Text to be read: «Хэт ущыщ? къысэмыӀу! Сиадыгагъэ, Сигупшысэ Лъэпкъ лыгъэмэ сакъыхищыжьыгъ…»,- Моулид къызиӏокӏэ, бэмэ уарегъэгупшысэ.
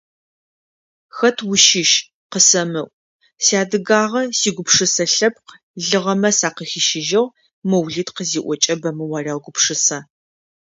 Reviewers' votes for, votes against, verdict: 2, 0, accepted